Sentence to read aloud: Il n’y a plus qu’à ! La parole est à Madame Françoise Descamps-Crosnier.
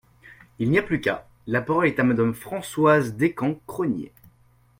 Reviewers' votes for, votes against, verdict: 2, 0, accepted